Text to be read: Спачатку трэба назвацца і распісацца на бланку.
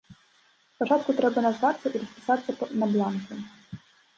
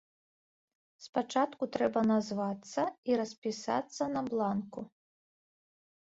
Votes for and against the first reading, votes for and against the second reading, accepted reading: 0, 2, 2, 0, second